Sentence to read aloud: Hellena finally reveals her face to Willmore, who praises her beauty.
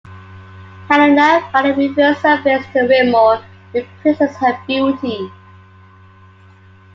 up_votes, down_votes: 2, 0